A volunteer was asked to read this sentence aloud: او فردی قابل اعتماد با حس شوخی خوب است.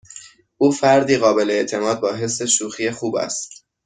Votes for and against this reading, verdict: 2, 0, accepted